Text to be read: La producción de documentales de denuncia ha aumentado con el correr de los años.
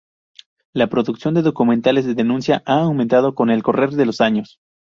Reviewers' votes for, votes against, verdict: 0, 2, rejected